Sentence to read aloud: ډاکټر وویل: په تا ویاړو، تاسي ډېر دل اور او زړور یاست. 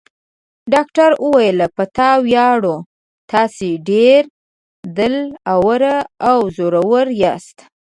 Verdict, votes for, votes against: rejected, 0, 2